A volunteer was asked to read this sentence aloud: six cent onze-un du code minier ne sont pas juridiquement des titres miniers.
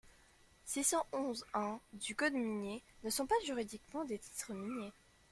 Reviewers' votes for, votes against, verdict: 2, 0, accepted